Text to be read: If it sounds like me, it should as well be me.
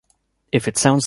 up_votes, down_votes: 0, 2